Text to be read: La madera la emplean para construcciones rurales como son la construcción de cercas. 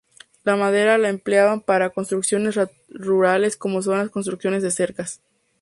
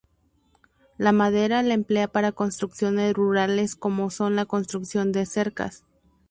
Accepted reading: first